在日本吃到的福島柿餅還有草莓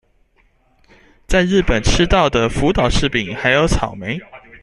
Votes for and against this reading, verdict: 2, 0, accepted